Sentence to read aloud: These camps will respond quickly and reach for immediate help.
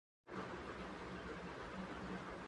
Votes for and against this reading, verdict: 0, 2, rejected